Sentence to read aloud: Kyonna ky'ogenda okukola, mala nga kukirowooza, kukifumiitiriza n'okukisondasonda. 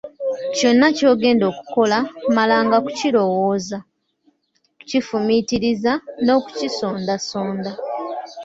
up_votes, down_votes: 1, 2